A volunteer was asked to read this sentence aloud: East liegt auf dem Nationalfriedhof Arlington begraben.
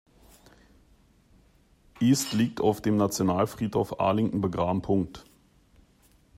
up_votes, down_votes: 0, 2